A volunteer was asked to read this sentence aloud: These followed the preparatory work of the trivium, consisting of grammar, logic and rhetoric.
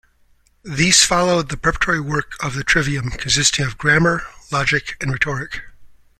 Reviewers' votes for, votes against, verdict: 2, 0, accepted